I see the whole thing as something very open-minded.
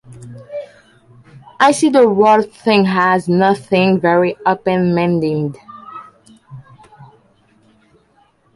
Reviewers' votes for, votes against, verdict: 0, 2, rejected